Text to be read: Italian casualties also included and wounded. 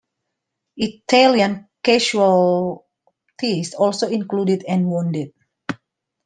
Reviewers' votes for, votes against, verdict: 1, 2, rejected